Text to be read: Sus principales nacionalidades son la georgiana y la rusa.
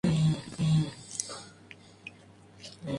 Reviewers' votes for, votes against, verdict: 0, 2, rejected